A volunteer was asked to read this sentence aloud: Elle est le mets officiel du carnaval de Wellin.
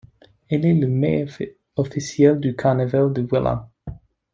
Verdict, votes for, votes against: accepted, 2, 0